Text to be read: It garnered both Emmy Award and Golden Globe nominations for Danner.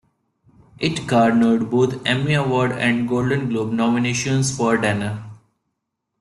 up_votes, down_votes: 2, 0